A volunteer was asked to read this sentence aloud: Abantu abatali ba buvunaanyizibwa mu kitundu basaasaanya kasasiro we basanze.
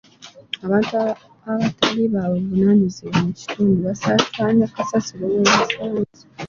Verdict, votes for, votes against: accepted, 2, 1